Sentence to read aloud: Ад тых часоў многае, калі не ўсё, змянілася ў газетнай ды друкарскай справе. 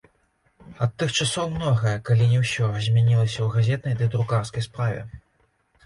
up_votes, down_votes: 1, 2